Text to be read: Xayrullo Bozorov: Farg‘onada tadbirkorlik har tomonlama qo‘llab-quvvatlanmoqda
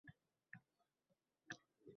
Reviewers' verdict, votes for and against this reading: rejected, 0, 2